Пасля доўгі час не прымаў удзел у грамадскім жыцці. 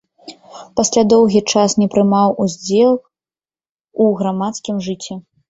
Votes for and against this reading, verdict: 1, 2, rejected